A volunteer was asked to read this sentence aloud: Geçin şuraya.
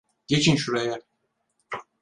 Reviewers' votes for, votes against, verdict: 2, 4, rejected